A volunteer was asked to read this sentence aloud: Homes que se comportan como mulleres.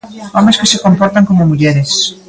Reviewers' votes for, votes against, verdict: 3, 0, accepted